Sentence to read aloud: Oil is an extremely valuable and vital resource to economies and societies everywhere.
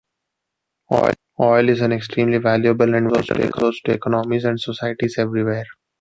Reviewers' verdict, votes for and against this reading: rejected, 1, 2